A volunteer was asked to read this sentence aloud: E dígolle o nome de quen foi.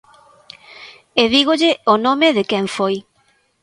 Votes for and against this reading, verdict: 2, 0, accepted